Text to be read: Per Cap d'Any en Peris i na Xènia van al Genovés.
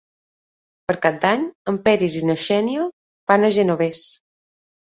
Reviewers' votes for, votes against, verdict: 0, 2, rejected